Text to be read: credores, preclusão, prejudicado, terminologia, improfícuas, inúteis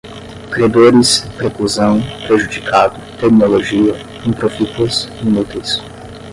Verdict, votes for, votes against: rejected, 0, 5